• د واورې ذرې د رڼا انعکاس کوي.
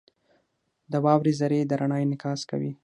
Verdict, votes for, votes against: rejected, 0, 6